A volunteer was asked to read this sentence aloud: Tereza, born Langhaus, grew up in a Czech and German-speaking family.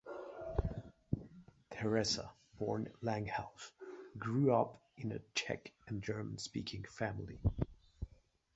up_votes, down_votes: 1, 2